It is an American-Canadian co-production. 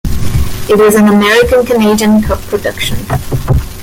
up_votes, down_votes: 1, 2